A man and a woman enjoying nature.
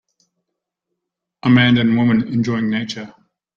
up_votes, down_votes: 2, 0